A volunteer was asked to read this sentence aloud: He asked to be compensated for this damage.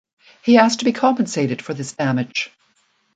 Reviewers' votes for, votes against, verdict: 2, 0, accepted